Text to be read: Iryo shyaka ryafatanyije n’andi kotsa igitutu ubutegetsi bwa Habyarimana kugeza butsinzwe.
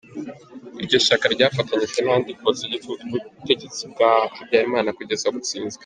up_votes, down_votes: 2, 0